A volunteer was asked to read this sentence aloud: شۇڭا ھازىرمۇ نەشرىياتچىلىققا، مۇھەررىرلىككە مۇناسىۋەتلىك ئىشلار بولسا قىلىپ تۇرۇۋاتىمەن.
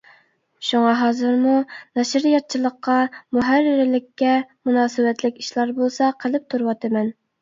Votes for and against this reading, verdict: 2, 0, accepted